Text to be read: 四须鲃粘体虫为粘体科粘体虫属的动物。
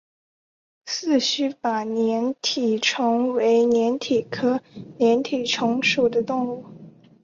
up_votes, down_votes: 3, 0